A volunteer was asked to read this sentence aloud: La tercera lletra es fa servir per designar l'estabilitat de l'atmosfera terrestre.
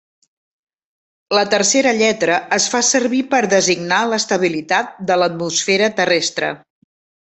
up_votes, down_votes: 3, 1